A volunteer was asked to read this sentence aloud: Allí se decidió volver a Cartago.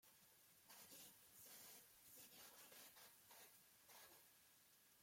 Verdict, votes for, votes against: rejected, 0, 2